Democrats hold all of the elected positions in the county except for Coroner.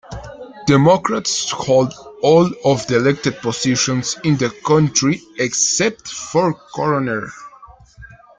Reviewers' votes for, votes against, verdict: 0, 2, rejected